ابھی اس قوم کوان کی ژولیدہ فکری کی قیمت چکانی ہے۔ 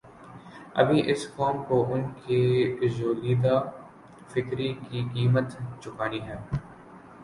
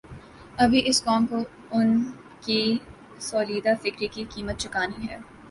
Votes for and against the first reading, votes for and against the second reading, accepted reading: 0, 2, 2, 0, second